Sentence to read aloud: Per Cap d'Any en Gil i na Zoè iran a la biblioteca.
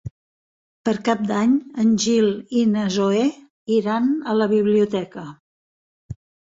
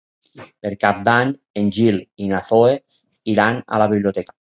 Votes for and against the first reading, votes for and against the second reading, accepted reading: 3, 0, 0, 4, first